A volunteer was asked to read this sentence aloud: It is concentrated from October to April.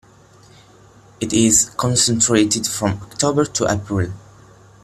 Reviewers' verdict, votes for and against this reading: rejected, 1, 2